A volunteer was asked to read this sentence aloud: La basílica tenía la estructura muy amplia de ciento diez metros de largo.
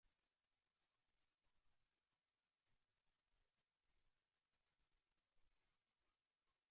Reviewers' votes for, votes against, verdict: 0, 2, rejected